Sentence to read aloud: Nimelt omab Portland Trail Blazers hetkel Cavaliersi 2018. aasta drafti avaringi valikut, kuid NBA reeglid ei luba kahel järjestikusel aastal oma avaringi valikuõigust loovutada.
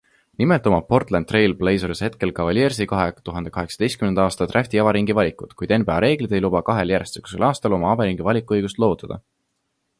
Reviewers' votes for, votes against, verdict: 0, 2, rejected